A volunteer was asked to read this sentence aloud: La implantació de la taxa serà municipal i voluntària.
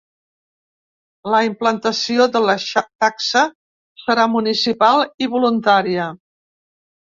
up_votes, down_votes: 0, 2